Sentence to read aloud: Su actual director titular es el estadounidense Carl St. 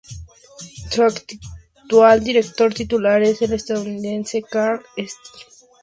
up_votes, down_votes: 2, 0